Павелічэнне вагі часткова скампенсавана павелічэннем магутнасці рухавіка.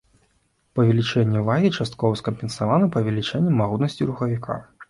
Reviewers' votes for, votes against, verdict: 2, 1, accepted